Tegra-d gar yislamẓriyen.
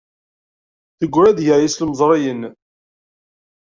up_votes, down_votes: 1, 2